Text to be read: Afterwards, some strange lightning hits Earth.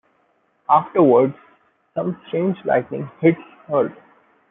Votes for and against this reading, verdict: 0, 2, rejected